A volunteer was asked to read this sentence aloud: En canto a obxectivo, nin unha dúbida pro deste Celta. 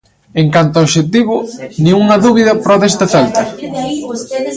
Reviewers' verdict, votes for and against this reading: rejected, 1, 2